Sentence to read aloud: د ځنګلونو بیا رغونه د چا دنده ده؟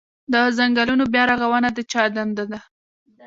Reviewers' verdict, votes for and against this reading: accepted, 2, 0